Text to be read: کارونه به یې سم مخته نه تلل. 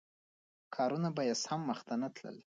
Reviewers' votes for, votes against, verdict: 2, 0, accepted